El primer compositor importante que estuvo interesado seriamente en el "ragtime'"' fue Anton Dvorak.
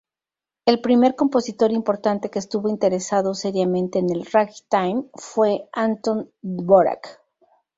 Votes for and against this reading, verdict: 2, 0, accepted